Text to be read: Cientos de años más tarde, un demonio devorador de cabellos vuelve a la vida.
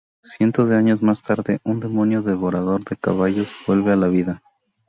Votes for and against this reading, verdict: 2, 0, accepted